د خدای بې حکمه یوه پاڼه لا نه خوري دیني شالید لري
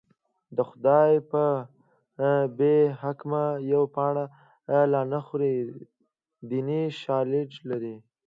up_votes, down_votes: 1, 2